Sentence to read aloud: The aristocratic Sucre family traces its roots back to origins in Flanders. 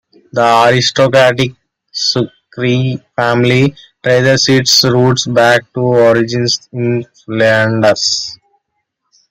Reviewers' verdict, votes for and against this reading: accepted, 2, 0